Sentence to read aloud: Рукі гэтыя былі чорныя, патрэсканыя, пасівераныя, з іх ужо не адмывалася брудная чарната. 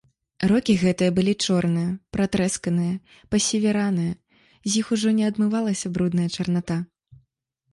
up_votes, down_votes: 1, 2